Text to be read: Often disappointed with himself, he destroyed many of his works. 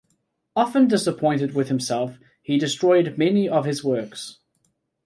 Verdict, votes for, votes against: accepted, 2, 0